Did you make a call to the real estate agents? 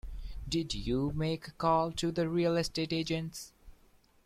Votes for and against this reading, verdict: 2, 0, accepted